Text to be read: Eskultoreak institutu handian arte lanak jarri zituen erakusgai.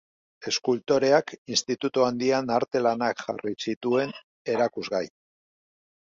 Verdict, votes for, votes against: accepted, 2, 0